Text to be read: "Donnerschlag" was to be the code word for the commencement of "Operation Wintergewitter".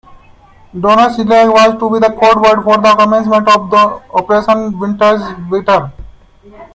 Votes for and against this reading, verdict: 0, 2, rejected